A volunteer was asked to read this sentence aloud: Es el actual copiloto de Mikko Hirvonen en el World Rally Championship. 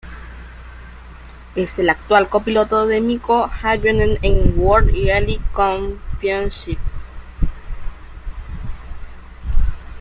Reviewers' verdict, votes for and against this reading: rejected, 0, 2